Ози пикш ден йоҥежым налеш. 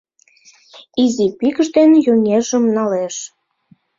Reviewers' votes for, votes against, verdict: 0, 2, rejected